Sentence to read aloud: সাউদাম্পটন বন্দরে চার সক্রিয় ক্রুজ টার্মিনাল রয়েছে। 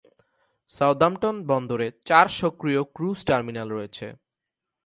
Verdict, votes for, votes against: accepted, 2, 0